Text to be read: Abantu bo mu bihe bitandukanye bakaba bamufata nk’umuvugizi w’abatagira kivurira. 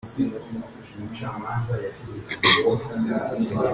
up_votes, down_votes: 0, 2